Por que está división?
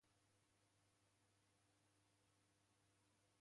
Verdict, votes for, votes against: rejected, 0, 2